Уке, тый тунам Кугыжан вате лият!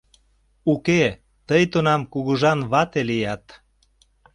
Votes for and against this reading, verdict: 2, 0, accepted